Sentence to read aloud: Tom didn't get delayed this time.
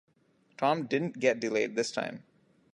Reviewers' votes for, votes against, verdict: 3, 0, accepted